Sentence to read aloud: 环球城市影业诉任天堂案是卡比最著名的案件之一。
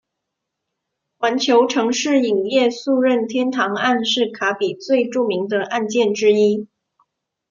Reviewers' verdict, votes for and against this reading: accepted, 2, 0